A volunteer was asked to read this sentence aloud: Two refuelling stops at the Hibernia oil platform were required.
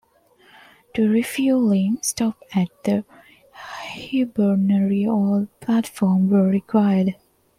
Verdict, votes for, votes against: rejected, 1, 2